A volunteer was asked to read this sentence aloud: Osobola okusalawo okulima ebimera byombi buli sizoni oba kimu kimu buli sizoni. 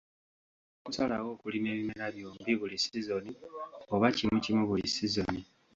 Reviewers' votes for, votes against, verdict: 0, 2, rejected